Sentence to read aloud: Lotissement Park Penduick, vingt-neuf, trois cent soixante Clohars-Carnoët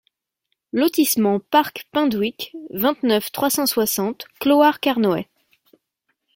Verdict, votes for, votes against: accepted, 2, 0